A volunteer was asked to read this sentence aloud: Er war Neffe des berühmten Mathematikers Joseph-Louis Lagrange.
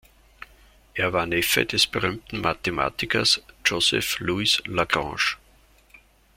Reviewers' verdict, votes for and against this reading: accepted, 2, 0